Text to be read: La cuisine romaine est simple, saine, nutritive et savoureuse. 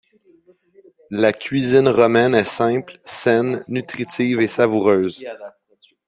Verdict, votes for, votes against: rejected, 1, 2